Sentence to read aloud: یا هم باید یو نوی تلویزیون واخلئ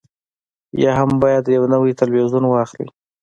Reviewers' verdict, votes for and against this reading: accepted, 2, 0